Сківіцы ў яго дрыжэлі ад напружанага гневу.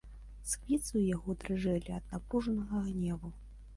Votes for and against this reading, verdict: 2, 1, accepted